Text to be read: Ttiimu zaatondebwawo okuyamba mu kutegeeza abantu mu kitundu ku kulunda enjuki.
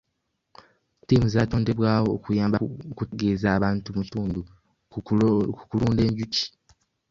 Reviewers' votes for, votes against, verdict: 0, 2, rejected